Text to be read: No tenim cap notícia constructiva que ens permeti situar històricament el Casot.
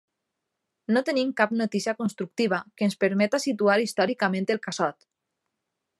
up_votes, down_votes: 0, 2